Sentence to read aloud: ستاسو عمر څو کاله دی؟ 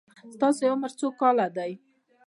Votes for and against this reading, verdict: 2, 0, accepted